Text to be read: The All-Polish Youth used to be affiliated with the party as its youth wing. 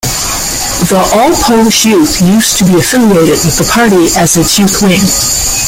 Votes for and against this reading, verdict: 2, 1, accepted